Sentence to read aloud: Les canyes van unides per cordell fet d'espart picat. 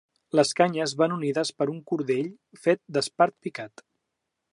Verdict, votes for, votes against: rejected, 0, 2